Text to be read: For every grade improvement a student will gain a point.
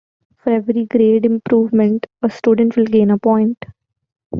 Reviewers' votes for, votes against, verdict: 2, 0, accepted